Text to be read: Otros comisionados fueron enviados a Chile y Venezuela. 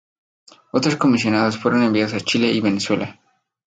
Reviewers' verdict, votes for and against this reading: accepted, 4, 0